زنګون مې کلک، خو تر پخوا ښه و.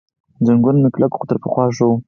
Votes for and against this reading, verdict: 4, 2, accepted